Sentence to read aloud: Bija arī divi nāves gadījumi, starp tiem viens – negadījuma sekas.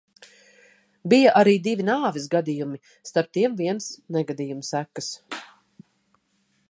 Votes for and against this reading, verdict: 2, 0, accepted